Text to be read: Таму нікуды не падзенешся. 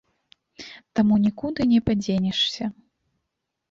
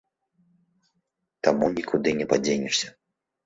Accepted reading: first